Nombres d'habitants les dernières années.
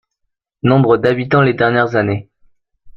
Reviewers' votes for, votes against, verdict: 2, 1, accepted